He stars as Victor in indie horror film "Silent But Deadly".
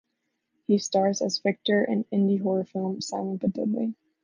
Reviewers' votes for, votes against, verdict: 2, 1, accepted